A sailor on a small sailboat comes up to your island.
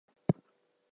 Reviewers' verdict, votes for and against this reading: rejected, 0, 2